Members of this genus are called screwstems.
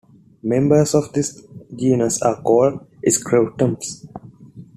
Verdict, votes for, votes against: accepted, 2, 1